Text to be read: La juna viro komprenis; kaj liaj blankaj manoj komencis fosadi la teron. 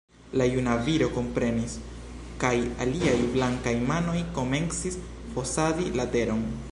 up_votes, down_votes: 0, 2